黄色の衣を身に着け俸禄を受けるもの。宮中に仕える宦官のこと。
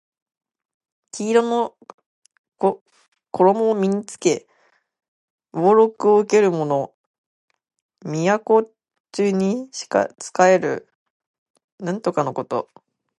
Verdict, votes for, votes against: accepted, 2, 1